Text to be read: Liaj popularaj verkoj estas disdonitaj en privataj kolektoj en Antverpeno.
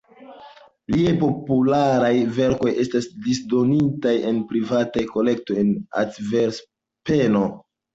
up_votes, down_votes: 0, 2